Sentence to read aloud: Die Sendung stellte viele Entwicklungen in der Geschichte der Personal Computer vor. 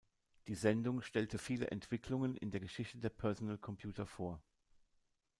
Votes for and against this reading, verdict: 1, 2, rejected